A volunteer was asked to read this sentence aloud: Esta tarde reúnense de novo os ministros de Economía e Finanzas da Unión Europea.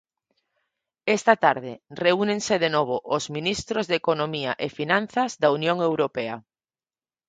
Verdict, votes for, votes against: accepted, 4, 0